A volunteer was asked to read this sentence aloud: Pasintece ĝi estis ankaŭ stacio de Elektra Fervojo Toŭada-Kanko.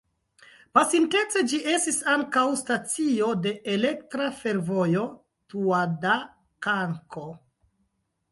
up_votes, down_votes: 0, 2